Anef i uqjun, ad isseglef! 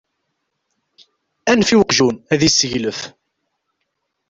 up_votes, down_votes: 2, 0